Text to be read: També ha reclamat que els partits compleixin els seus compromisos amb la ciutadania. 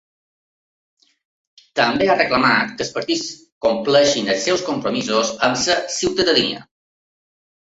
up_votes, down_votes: 2, 3